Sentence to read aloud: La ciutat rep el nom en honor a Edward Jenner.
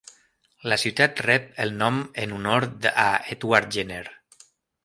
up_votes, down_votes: 0, 2